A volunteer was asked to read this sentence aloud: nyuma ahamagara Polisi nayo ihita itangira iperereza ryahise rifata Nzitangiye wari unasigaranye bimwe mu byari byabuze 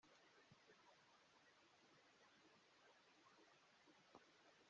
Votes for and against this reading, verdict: 0, 2, rejected